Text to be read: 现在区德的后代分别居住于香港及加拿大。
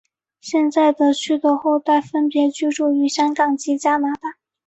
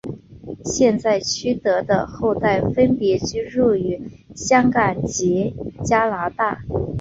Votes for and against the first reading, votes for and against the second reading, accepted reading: 7, 0, 0, 2, first